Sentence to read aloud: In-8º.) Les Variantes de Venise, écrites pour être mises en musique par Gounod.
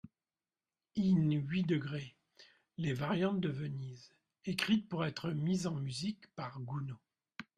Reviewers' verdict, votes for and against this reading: rejected, 0, 2